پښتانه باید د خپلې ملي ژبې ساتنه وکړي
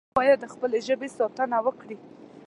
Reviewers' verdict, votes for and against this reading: rejected, 1, 2